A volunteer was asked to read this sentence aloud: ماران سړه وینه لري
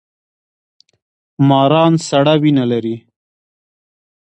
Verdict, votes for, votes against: accepted, 2, 0